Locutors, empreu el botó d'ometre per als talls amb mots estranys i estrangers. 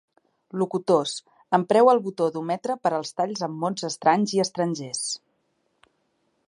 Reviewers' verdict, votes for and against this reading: accepted, 2, 0